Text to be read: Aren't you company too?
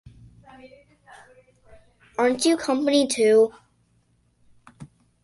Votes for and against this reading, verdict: 2, 0, accepted